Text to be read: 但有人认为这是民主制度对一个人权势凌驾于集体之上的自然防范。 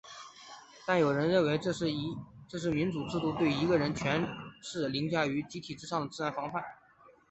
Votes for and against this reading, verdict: 3, 3, rejected